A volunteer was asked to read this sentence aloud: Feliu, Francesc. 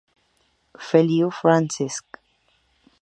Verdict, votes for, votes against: rejected, 0, 2